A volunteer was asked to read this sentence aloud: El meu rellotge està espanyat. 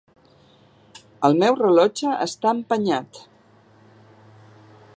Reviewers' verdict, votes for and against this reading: rejected, 0, 2